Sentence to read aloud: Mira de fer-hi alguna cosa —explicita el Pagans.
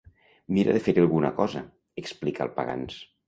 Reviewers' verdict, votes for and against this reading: rejected, 0, 2